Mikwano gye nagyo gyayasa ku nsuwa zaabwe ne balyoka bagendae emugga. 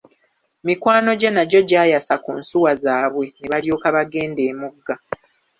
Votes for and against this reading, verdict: 2, 0, accepted